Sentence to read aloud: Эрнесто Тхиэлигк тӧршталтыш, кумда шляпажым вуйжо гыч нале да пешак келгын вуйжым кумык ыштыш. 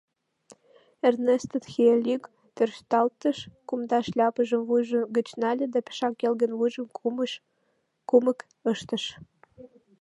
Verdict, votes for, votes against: rejected, 1, 2